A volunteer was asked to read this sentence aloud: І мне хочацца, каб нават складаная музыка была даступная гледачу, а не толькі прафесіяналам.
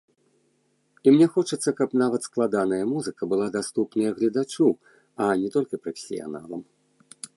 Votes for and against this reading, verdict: 0, 2, rejected